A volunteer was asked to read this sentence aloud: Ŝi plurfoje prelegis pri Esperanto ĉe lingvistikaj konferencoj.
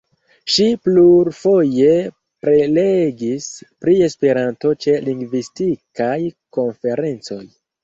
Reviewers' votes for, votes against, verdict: 0, 2, rejected